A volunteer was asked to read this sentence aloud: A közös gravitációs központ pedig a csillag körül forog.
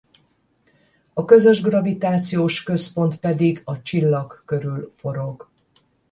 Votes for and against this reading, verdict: 10, 0, accepted